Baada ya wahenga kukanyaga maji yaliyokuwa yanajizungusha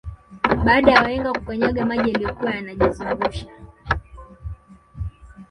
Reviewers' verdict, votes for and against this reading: rejected, 0, 2